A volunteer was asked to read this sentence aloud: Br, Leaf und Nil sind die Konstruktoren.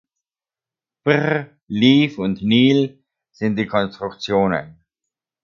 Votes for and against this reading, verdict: 1, 2, rejected